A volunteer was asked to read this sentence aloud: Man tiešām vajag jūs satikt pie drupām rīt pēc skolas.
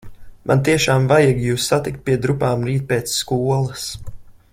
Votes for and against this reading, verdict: 2, 0, accepted